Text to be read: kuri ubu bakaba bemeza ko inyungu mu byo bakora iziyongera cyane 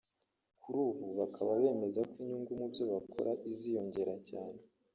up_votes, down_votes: 0, 2